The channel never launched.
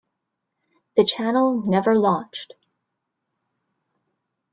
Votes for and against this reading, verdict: 0, 2, rejected